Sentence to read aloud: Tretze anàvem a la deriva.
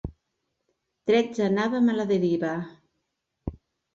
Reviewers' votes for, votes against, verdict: 3, 0, accepted